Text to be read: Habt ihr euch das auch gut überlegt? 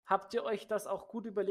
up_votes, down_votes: 0, 2